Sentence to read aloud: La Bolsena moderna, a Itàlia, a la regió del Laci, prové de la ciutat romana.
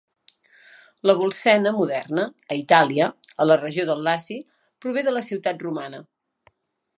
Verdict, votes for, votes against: accepted, 2, 0